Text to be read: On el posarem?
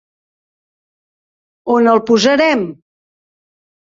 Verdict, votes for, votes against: accepted, 3, 0